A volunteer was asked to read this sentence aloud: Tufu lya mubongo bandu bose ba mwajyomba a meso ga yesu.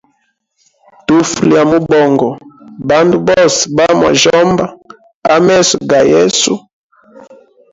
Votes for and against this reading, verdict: 2, 3, rejected